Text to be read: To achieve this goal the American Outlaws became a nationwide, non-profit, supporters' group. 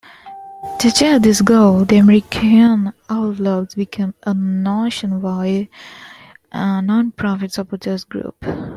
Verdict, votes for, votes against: accepted, 2, 0